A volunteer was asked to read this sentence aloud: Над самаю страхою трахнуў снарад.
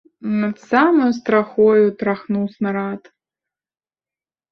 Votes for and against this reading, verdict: 3, 1, accepted